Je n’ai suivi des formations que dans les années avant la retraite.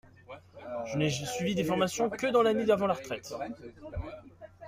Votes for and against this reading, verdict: 1, 2, rejected